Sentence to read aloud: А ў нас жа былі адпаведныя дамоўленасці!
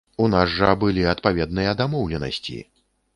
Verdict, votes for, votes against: rejected, 0, 2